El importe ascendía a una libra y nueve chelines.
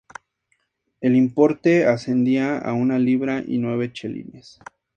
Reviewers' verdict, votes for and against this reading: accepted, 2, 0